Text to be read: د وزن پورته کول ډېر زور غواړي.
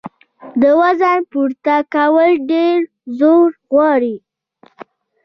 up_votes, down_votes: 1, 2